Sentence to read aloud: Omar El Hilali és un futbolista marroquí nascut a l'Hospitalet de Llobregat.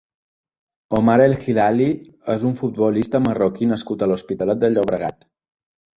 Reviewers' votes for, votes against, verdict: 2, 0, accepted